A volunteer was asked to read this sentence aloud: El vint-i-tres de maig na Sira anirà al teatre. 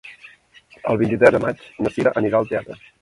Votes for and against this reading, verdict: 0, 2, rejected